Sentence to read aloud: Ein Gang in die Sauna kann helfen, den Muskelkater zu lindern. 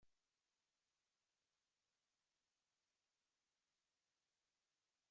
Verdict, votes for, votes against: rejected, 0, 2